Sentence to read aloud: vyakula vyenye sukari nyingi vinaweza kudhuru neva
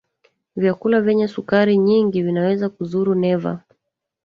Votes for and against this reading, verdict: 1, 2, rejected